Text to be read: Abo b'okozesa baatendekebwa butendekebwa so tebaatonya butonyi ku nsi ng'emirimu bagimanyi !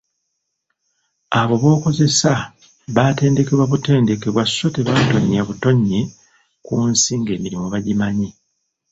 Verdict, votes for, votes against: accepted, 2, 1